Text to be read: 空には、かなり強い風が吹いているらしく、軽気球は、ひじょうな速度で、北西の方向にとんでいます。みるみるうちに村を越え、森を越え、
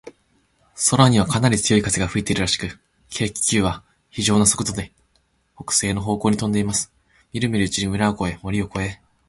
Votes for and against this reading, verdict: 2, 0, accepted